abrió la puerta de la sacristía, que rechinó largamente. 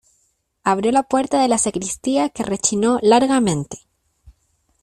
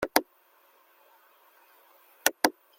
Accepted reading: first